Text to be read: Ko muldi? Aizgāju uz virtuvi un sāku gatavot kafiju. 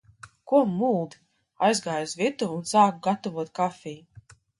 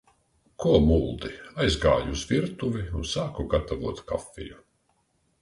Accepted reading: second